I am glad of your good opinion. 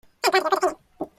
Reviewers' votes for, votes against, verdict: 0, 2, rejected